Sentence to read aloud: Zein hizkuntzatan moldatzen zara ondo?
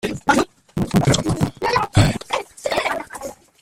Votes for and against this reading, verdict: 0, 2, rejected